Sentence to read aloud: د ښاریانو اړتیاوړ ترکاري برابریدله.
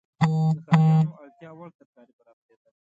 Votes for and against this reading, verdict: 0, 2, rejected